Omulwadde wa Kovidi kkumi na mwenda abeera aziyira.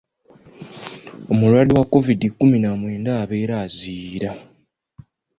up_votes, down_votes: 2, 0